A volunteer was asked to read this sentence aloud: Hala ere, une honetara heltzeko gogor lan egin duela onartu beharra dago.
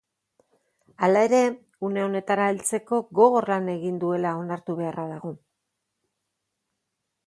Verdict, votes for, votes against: accepted, 2, 0